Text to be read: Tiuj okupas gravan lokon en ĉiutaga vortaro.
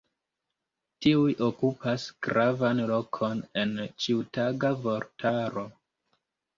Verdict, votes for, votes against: accepted, 2, 0